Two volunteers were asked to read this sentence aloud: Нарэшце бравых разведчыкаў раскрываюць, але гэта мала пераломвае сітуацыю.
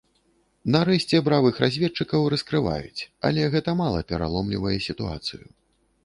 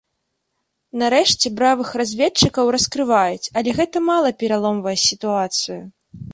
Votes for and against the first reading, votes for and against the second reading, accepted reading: 0, 2, 2, 0, second